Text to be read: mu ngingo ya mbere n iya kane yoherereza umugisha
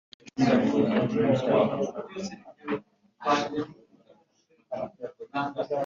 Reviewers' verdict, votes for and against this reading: rejected, 1, 2